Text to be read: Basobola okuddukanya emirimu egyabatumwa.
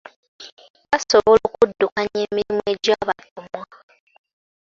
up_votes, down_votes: 2, 0